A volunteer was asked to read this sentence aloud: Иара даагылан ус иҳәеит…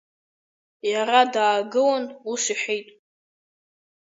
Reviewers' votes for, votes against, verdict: 2, 1, accepted